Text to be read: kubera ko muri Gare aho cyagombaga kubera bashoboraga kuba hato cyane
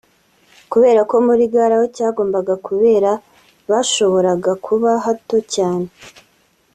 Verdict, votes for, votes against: accepted, 2, 0